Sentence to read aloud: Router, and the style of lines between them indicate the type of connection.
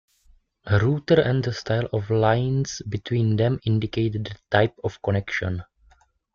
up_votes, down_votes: 2, 0